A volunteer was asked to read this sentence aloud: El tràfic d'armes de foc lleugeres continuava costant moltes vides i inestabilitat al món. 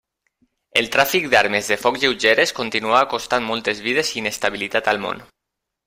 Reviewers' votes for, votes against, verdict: 0, 2, rejected